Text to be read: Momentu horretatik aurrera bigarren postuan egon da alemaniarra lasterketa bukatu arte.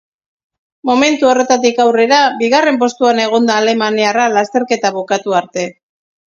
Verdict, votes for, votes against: accepted, 2, 0